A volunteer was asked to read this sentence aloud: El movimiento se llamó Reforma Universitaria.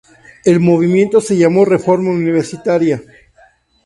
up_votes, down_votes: 2, 0